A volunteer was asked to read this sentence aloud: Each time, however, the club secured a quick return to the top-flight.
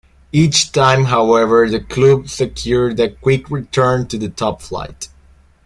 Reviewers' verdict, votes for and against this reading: accepted, 2, 0